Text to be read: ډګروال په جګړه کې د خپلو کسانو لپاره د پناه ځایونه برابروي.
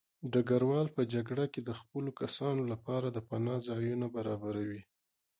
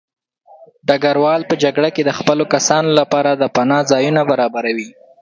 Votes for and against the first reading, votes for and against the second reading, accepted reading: 1, 2, 2, 0, second